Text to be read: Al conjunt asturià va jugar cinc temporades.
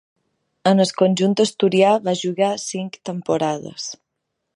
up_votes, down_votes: 1, 2